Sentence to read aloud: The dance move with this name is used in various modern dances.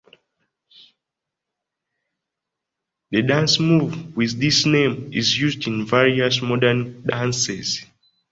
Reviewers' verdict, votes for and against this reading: accepted, 2, 0